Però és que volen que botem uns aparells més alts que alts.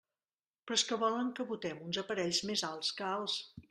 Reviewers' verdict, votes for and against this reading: accepted, 2, 0